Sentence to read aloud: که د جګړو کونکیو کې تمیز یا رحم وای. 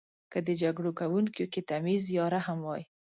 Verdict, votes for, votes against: accepted, 4, 0